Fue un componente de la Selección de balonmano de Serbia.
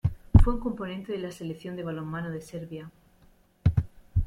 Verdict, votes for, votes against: accepted, 2, 0